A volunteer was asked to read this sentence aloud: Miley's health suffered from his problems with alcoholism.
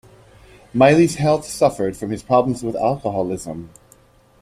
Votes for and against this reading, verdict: 2, 0, accepted